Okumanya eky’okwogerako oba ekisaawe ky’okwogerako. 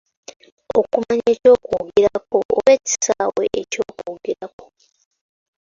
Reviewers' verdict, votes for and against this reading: accepted, 2, 1